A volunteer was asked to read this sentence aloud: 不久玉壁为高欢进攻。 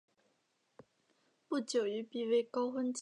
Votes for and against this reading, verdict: 1, 3, rejected